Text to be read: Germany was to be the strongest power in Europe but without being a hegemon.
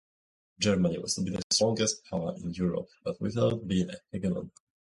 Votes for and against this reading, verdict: 0, 2, rejected